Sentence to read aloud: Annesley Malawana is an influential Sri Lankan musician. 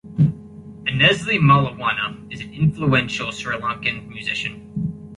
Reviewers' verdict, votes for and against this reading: rejected, 1, 2